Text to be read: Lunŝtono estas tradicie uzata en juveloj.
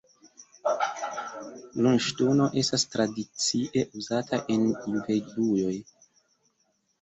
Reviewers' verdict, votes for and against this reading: accepted, 2, 1